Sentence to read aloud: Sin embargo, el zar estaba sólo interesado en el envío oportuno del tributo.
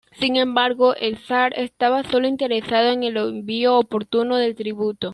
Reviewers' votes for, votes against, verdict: 2, 0, accepted